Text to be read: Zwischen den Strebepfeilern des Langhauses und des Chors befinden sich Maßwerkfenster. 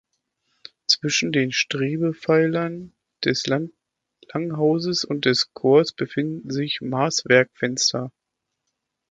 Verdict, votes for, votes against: rejected, 1, 2